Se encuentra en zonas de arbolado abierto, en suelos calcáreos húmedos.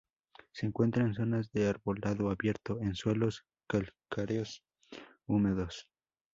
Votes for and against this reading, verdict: 2, 0, accepted